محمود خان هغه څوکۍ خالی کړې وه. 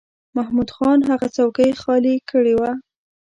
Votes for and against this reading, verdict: 2, 0, accepted